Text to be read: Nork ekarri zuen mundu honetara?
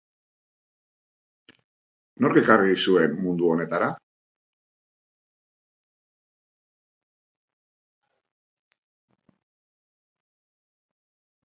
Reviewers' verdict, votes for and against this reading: rejected, 0, 2